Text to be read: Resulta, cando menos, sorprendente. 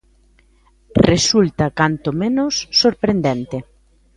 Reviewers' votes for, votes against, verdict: 1, 2, rejected